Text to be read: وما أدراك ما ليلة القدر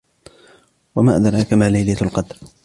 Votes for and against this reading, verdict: 2, 0, accepted